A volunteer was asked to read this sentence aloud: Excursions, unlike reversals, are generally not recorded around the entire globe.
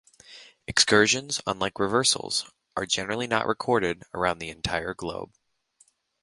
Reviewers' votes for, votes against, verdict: 2, 0, accepted